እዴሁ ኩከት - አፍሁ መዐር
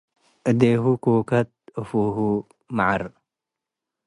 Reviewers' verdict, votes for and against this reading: accepted, 2, 0